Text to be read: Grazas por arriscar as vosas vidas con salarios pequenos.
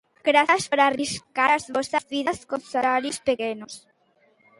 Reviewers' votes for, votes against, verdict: 0, 2, rejected